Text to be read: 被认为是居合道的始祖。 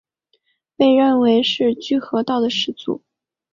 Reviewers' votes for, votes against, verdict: 2, 0, accepted